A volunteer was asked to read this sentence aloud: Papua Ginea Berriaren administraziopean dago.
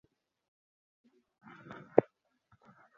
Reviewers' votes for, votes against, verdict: 0, 4, rejected